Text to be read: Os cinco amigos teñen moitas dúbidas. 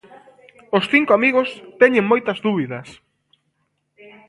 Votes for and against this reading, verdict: 1, 2, rejected